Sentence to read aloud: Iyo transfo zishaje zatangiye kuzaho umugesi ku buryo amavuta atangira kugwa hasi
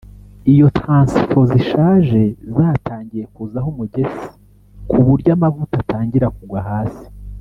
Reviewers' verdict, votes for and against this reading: rejected, 1, 2